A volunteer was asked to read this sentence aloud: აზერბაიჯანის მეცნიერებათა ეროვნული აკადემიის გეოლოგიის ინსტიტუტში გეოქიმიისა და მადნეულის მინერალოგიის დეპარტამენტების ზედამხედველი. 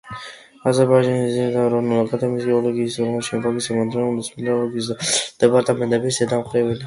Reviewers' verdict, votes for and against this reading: rejected, 0, 2